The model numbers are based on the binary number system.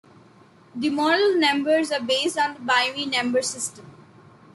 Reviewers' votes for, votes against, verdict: 2, 1, accepted